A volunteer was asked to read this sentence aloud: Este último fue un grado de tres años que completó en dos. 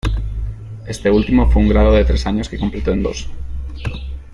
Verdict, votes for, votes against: accepted, 2, 0